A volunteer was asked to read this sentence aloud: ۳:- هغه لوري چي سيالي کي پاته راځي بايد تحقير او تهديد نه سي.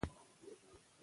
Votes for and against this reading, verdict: 0, 2, rejected